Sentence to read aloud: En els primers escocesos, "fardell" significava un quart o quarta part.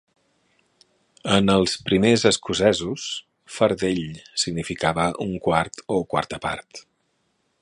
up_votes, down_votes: 4, 0